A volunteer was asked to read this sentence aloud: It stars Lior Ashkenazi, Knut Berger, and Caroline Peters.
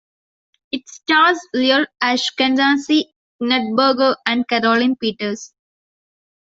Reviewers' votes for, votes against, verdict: 2, 1, accepted